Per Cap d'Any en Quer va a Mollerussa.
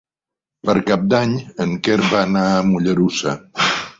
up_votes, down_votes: 1, 2